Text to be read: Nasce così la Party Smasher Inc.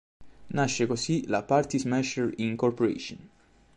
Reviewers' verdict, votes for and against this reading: rejected, 1, 2